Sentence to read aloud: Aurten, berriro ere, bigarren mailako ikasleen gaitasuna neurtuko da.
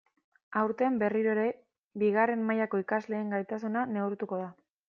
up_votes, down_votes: 2, 0